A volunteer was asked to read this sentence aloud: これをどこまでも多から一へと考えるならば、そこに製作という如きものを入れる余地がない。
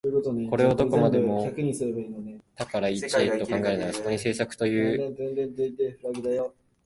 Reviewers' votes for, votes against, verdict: 0, 2, rejected